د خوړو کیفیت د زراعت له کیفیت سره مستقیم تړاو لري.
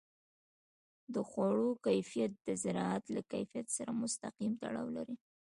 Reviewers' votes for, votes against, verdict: 2, 1, accepted